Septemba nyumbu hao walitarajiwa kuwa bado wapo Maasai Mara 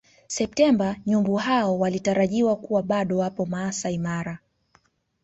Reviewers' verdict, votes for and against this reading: rejected, 0, 2